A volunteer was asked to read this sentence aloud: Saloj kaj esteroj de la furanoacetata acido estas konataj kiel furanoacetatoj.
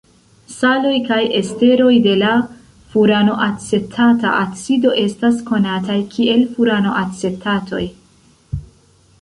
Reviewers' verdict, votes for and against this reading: accepted, 2, 1